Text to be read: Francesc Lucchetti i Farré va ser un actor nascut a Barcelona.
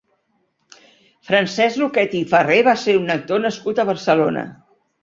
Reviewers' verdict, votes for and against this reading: accepted, 2, 0